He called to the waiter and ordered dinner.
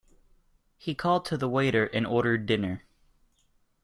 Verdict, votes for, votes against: accepted, 2, 0